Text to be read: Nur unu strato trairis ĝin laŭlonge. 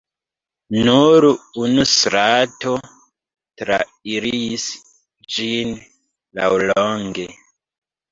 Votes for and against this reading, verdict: 2, 3, rejected